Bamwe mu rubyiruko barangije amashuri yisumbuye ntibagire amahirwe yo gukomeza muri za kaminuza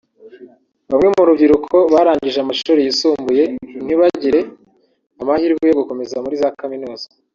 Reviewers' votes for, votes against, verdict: 1, 2, rejected